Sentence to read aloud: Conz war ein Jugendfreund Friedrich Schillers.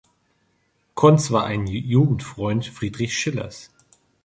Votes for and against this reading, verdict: 3, 2, accepted